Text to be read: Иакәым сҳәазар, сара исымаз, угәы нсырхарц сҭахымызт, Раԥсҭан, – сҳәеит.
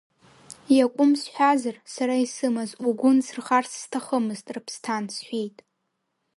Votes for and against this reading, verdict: 1, 2, rejected